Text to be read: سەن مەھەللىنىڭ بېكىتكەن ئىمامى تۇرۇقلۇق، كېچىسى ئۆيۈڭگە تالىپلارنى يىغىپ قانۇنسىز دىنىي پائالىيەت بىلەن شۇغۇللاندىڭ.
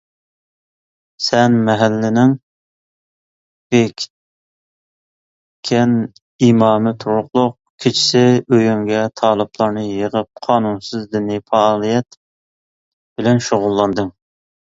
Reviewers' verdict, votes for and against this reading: rejected, 1, 2